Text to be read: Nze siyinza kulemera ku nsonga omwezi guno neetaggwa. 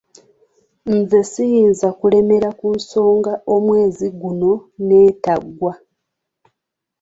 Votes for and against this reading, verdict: 2, 0, accepted